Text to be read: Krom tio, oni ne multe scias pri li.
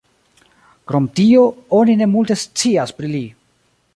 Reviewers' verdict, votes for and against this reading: accepted, 2, 0